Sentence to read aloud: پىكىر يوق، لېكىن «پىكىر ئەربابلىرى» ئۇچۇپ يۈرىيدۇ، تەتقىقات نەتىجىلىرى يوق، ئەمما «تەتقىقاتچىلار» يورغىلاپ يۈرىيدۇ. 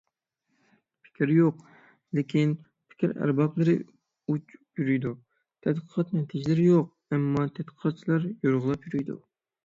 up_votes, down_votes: 0, 6